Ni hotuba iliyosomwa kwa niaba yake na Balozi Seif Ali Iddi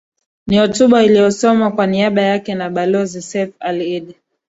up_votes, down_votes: 2, 0